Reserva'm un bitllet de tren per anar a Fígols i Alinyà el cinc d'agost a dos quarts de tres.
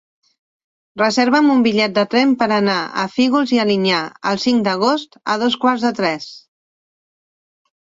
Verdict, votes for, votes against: accepted, 3, 1